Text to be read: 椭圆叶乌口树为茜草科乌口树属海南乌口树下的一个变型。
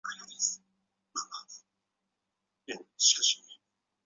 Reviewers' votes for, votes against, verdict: 0, 4, rejected